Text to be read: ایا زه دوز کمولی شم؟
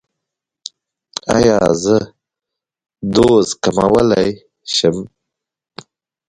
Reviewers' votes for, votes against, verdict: 0, 2, rejected